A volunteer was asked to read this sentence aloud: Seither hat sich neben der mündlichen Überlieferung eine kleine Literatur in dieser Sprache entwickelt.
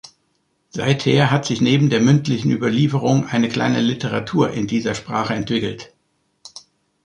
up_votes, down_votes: 2, 0